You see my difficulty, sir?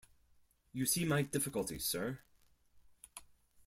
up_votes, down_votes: 4, 0